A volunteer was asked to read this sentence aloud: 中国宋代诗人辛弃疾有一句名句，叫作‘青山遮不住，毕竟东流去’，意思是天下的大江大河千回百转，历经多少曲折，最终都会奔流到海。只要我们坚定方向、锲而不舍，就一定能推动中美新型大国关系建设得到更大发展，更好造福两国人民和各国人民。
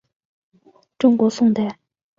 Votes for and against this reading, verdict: 0, 2, rejected